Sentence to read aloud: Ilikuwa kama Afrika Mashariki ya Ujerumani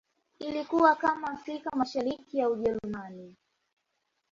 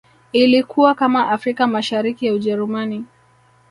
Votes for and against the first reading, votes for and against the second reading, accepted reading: 2, 0, 0, 2, first